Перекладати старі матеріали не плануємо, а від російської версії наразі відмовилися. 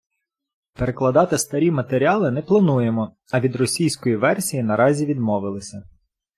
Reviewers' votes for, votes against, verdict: 2, 0, accepted